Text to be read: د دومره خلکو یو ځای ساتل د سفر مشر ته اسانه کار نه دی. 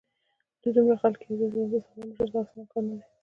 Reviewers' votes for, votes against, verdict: 2, 1, accepted